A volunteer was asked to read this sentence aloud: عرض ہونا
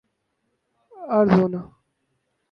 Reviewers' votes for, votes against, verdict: 2, 2, rejected